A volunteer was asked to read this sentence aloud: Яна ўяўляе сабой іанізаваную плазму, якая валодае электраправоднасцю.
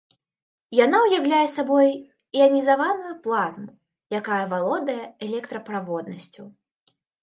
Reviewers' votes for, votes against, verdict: 3, 0, accepted